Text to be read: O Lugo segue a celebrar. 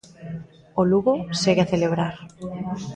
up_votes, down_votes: 2, 0